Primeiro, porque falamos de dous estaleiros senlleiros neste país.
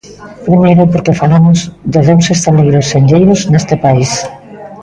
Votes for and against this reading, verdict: 1, 2, rejected